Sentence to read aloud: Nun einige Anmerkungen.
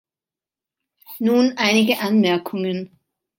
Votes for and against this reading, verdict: 2, 0, accepted